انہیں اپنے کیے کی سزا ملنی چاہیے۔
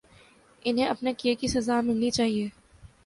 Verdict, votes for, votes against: accepted, 2, 0